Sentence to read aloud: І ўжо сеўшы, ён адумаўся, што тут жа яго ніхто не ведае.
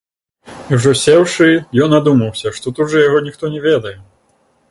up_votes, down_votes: 0, 2